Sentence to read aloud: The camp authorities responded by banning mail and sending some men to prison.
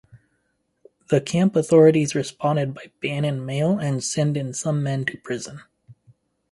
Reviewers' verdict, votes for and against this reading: accepted, 4, 0